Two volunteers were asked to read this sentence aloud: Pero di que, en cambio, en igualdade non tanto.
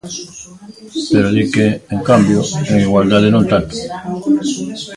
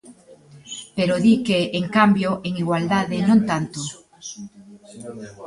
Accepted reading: second